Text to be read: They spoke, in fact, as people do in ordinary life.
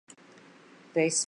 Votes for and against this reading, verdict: 0, 2, rejected